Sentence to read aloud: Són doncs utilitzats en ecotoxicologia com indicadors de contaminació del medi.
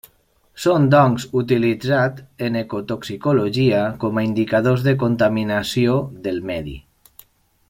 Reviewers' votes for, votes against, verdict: 1, 2, rejected